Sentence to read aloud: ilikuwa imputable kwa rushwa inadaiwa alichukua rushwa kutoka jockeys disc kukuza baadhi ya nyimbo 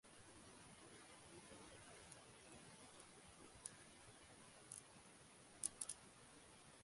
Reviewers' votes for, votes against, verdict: 0, 2, rejected